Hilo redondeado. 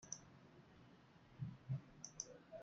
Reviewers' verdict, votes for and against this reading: rejected, 0, 2